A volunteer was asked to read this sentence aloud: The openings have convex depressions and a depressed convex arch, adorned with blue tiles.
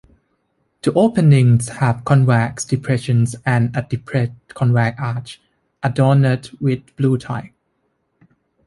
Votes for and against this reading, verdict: 2, 1, accepted